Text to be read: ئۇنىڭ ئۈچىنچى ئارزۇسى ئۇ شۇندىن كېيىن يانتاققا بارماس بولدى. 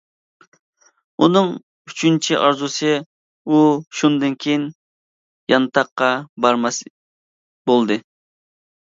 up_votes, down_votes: 2, 0